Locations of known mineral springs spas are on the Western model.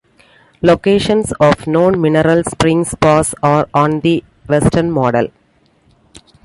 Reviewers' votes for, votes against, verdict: 2, 1, accepted